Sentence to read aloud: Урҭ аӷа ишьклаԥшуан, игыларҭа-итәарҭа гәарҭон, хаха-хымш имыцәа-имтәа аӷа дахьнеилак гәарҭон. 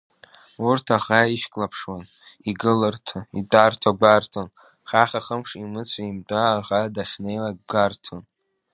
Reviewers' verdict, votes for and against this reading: rejected, 0, 2